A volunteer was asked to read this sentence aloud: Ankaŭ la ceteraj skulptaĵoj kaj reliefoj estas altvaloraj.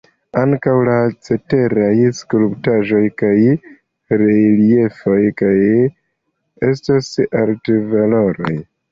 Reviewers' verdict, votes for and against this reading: rejected, 0, 2